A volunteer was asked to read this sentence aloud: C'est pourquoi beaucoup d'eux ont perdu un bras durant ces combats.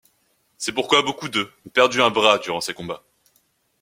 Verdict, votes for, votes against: rejected, 0, 2